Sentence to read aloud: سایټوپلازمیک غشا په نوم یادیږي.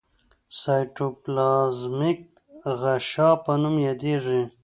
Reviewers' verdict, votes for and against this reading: accepted, 2, 0